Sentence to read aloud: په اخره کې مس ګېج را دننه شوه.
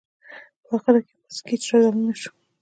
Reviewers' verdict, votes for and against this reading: rejected, 1, 2